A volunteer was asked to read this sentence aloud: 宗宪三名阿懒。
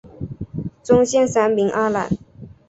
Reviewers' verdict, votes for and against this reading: accepted, 5, 1